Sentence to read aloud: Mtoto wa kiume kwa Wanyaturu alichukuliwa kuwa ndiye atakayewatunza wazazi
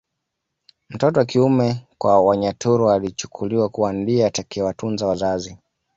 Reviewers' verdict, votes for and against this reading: accepted, 2, 0